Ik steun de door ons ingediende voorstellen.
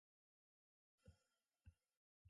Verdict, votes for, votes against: rejected, 0, 2